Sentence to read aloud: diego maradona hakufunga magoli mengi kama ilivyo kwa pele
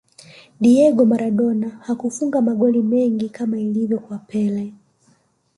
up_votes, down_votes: 1, 2